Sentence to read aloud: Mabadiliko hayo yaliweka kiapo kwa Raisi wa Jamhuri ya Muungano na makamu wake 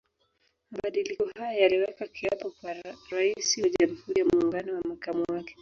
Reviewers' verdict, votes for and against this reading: accepted, 2, 1